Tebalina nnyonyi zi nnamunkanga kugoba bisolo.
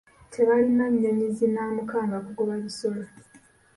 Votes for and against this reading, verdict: 1, 2, rejected